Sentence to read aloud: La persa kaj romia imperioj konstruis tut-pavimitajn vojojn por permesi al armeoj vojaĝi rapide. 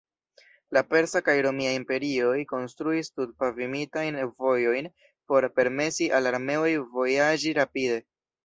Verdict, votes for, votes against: rejected, 1, 2